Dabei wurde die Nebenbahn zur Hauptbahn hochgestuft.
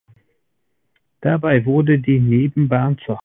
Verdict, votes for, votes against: rejected, 0, 2